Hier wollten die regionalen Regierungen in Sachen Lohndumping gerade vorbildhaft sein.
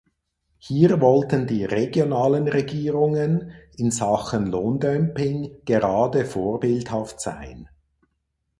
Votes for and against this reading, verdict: 2, 4, rejected